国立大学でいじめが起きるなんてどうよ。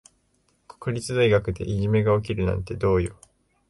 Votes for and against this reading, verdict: 5, 0, accepted